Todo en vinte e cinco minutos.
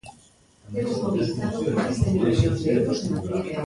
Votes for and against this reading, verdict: 0, 3, rejected